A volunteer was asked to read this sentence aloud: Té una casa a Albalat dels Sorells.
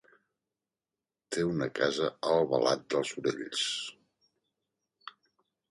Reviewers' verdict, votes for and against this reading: rejected, 1, 2